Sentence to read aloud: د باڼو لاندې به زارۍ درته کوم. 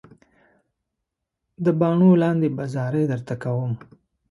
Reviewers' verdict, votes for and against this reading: accepted, 2, 0